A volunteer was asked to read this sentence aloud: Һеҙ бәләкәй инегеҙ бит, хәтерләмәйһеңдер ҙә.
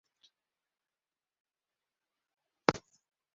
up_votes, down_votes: 1, 2